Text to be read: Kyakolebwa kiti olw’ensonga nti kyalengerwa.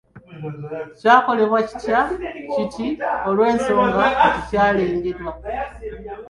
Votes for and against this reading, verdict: 1, 2, rejected